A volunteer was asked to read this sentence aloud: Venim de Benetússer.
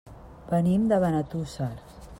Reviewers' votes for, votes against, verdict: 2, 0, accepted